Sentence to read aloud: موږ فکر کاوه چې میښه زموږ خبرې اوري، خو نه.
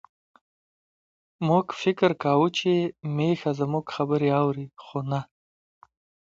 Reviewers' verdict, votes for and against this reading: rejected, 1, 2